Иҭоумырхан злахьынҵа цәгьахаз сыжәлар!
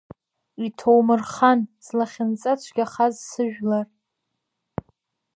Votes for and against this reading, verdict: 2, 0, accepted